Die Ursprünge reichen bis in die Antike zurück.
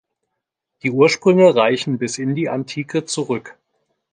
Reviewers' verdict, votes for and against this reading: accepted, 2, 0